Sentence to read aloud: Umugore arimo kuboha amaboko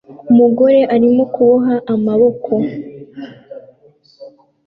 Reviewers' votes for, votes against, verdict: 2, 0, accepted